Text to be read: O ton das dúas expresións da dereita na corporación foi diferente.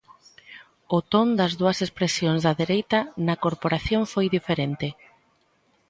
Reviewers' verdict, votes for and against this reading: accepted, 2, 1